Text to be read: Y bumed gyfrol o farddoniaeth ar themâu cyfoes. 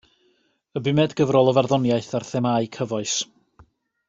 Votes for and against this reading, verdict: 2, 0, accepted